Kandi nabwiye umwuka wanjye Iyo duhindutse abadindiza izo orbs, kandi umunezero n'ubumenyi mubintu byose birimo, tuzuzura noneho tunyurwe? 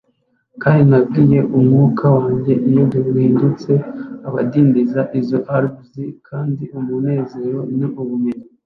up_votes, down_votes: 0, 2